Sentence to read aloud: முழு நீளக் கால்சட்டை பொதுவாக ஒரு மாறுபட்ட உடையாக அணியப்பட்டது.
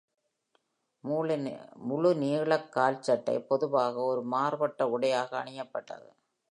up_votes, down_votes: 0, 2